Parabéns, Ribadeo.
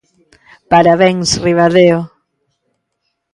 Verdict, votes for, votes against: accepted, 2, 0